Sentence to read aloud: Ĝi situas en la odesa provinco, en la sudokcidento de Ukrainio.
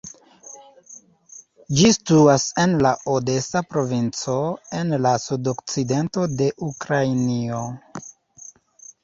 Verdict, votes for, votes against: rejected, 1, 2